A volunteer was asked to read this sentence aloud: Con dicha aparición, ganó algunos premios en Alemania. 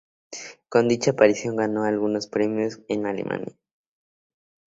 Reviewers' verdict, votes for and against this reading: accepted, 6, 0